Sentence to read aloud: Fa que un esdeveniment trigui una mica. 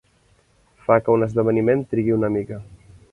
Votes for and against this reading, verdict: 3, 0, accepted